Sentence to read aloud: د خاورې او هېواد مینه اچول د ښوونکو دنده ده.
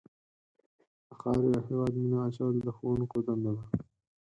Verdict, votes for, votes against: rejected, 2, 4